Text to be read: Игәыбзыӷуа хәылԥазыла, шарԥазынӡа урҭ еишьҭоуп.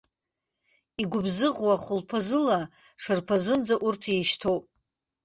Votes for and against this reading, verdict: 2, 0, accepted